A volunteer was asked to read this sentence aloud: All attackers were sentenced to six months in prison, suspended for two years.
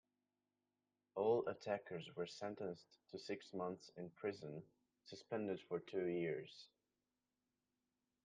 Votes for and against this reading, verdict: 2, 0, accepted